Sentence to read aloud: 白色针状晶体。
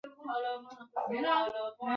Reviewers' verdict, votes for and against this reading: rejected, 1, 2